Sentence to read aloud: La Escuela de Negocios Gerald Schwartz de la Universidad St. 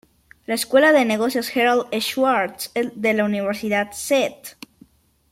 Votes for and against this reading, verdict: 1, 2, rejected